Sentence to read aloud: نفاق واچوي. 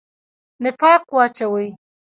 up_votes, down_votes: 0, 2